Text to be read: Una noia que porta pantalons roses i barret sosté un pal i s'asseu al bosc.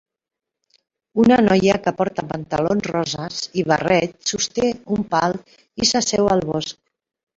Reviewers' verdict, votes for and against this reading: accepted, 3, 0